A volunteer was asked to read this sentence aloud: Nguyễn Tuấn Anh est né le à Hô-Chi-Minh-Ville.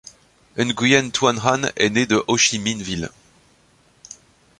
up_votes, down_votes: 0, 2